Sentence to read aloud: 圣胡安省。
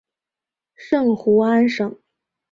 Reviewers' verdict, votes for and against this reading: accepted, 3, 0